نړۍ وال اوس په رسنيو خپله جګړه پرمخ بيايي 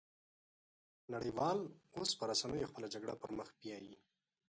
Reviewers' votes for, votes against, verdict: 1, 2, rejected